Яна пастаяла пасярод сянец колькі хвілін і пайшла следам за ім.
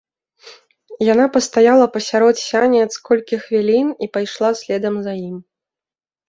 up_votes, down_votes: 1, 2